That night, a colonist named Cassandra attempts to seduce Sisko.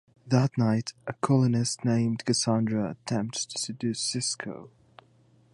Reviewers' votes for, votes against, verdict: 2, 0, accepted